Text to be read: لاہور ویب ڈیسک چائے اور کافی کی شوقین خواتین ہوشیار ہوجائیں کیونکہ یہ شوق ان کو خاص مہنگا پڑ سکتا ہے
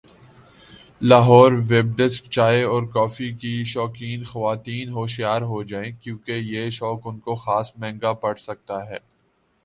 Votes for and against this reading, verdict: 3, 0, accepted